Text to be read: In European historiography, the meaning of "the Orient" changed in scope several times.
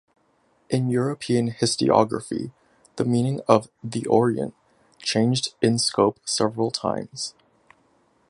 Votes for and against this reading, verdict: 0, 2, rejected